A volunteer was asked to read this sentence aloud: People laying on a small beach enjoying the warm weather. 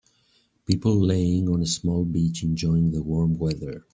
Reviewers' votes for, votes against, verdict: 3, 1, accepted